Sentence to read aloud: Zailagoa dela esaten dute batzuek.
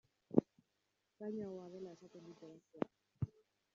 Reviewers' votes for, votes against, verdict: 1, 2, rejected